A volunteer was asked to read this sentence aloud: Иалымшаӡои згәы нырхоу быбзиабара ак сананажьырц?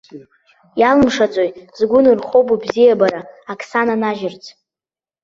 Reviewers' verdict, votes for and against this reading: rejected, 0, 2